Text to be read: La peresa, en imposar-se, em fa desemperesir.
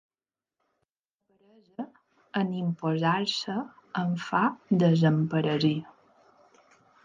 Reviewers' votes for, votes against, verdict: 1, 2, rejected